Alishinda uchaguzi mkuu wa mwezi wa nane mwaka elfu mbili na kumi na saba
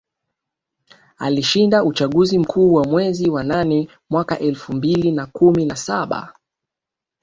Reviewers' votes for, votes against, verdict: 3, 2, accepted